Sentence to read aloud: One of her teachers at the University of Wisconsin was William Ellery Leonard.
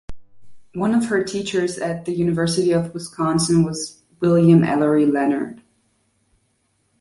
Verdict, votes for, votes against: accepted, 2, 0